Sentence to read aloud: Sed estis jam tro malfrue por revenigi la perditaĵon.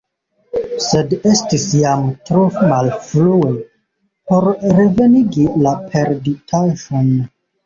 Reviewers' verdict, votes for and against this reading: rejected, 1, 2